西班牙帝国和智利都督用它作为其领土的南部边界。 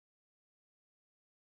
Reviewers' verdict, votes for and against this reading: rejected, 1, 2